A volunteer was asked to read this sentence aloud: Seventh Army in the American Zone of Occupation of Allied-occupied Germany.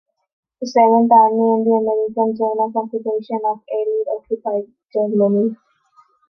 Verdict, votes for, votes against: accepted, 2, 1